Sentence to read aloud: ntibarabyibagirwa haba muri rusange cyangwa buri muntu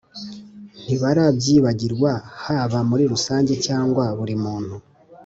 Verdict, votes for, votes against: accepted, 2, 0